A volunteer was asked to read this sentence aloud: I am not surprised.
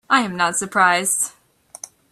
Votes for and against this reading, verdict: 2, 0, accepted